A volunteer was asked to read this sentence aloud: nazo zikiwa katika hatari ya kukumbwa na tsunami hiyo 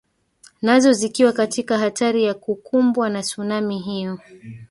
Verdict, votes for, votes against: rejected, 1, 2